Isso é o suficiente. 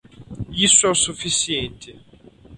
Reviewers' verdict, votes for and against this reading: accepted, 4, 0